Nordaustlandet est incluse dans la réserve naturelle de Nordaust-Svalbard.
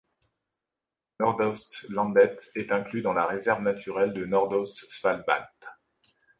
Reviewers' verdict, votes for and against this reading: rejected, 0, 2